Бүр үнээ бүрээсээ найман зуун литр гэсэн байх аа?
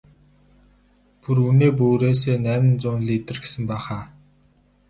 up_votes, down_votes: 0, 2